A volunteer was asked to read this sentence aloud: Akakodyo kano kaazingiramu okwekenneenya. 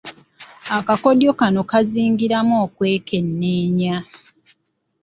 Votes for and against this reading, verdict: 2, 0, accepted